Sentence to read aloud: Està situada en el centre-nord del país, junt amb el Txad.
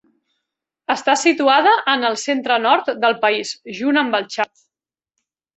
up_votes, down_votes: 1, 2